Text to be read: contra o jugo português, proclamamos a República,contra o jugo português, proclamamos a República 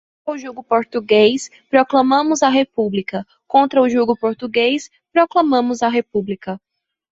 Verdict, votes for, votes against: rejected, 1, 2